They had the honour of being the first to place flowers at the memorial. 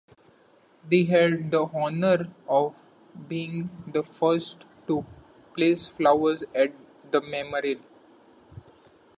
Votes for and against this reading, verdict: 1, 2, rejected